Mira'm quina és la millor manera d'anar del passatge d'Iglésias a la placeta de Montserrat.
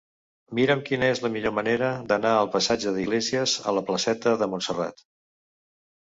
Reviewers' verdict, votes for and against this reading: rejected, 0, 2